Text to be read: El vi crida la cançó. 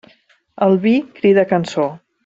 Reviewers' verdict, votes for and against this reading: rejected, 0, 2